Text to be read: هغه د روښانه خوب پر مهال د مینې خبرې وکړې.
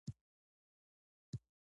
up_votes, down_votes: 0, 2